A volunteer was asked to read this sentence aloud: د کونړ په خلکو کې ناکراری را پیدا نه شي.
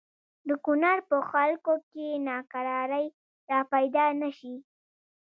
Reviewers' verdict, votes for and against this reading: rejected, 1, 2